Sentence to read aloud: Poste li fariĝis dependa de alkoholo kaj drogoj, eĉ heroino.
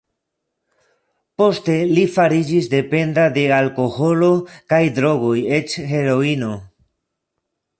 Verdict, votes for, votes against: accepted, 2, 0